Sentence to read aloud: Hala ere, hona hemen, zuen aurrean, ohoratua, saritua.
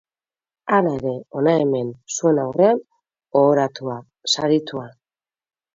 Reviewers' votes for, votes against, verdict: 6, 0, accepted